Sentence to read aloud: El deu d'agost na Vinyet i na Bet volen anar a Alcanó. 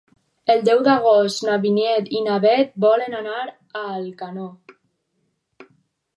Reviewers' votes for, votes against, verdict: 2, 2, rejected